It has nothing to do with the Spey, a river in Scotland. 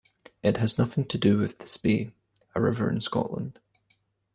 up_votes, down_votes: 2, 0